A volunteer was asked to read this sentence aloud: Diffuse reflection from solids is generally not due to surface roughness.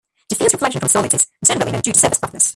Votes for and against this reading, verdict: 0, 2, rejected